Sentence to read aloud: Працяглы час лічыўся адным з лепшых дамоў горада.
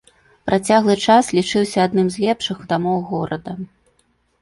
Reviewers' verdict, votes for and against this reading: accepted, 2, 0